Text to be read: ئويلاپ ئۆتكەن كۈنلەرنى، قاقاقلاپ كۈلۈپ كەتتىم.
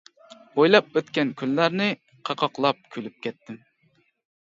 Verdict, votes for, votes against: accepted, 2, 0